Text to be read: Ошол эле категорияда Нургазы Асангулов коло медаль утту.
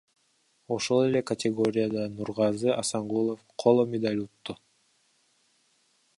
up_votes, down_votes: 0, 2